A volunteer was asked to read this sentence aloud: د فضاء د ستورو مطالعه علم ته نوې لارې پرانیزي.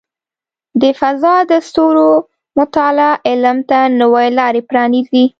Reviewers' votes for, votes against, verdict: 2, 0, accepted